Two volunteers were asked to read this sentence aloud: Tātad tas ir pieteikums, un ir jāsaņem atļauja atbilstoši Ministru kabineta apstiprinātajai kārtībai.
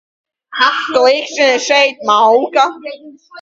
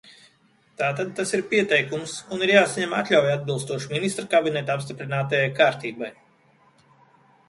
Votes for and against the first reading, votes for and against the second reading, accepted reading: 0, 2, 2, 0, second